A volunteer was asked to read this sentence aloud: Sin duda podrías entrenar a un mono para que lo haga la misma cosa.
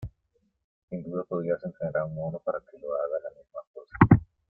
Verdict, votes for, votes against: rejected, 0, 2